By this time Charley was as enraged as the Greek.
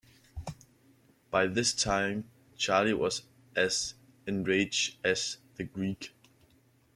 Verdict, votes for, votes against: accepted, 2, 0